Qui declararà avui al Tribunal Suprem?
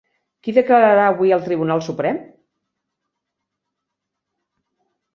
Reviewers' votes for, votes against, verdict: 1, 2, rejected